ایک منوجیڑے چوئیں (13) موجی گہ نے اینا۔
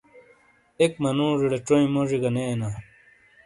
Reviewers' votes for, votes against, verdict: 0, 2, rejected